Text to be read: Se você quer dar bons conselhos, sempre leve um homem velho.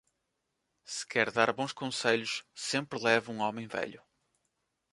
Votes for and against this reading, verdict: 0, 2, rejected